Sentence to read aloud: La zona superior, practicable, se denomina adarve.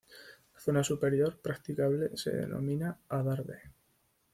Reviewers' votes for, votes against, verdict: 2, 0, accepted